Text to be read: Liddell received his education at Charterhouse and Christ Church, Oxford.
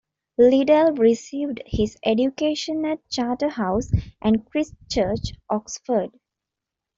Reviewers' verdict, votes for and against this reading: rejected, 0, 2